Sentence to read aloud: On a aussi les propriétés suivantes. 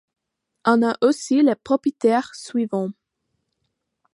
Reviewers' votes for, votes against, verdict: 0, 2, rejected